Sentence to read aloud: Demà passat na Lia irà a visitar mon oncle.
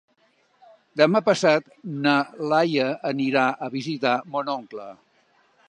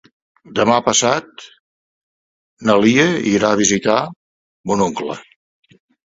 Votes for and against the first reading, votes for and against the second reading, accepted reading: 0, 2, 2, 0, second